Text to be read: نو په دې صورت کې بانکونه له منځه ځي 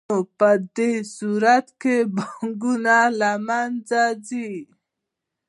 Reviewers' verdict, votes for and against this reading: rejected, 1, 2